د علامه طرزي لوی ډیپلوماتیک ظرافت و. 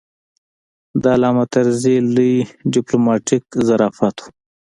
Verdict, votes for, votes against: accepted, 2, 0